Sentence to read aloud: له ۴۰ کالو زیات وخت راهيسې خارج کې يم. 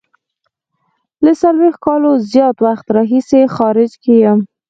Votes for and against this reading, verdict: 0, 2, rejected